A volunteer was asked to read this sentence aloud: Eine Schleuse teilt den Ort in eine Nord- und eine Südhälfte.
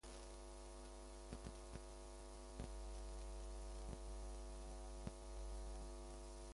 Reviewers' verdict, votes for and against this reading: rejected, 0, 2